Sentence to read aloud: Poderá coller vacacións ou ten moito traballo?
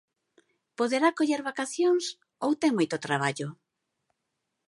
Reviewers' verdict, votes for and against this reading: accepted, 3, 0